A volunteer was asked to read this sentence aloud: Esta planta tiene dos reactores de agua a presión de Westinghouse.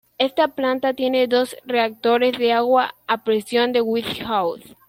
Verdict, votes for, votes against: rejected, 1, 2